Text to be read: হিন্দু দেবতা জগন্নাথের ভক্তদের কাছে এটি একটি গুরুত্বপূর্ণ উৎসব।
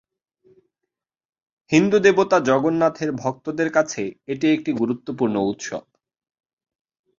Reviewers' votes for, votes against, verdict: 2, 1, accepted